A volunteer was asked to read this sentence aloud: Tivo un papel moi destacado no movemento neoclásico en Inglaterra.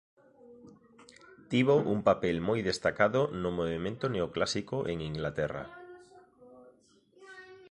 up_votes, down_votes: 2, 0